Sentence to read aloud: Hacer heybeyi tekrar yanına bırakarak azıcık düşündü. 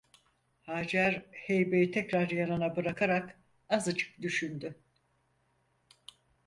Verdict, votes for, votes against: accepted, 4, 0